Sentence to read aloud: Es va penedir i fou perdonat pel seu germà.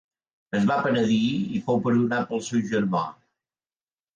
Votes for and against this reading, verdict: 4, 0, accepted